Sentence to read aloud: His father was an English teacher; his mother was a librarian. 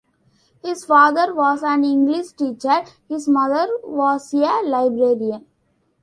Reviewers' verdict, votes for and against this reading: rejected, 0, 2